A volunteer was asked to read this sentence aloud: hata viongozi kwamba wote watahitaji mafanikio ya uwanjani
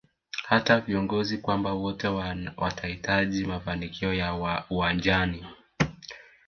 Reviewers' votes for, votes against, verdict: 2, 0, accepted